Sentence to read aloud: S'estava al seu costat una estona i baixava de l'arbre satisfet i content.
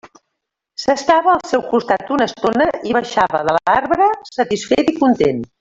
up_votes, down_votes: 0, 2